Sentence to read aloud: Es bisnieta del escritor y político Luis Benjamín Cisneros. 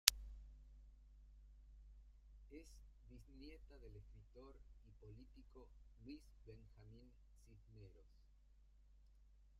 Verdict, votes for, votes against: rejected, 0, 2